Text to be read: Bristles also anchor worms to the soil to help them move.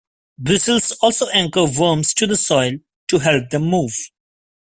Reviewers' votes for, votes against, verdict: 2, 0, accepted